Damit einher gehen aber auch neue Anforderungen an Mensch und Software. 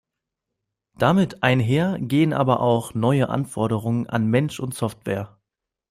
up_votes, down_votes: 2, 0